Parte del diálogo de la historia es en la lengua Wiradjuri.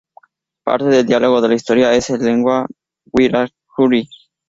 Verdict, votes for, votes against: rejected, 0, 4